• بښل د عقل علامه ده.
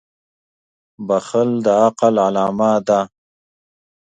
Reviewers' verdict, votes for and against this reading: accepted, 2, 0